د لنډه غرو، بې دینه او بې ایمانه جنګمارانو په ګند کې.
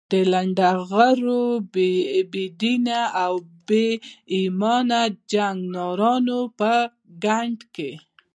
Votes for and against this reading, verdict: 2, 1, accepted